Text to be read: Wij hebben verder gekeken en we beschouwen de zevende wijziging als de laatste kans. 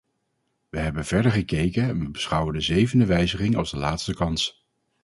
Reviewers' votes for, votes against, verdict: 4, 0, accepted